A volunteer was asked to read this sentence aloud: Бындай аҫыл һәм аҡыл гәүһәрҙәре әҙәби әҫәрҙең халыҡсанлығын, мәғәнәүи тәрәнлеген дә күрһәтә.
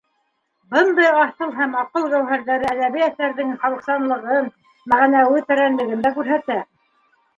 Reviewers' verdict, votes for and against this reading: rejected, 1, 2